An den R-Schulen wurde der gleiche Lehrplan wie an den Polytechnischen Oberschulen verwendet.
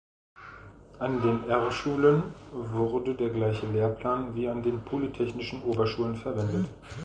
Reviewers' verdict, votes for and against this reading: accepted, 2, 0